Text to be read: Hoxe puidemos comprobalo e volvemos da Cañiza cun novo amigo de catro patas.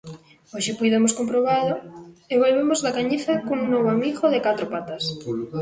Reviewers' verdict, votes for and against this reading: rejected, 0, 2